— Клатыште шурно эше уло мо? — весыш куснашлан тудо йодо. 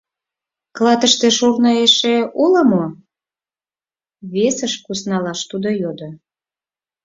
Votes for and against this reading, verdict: 2, 4, rejected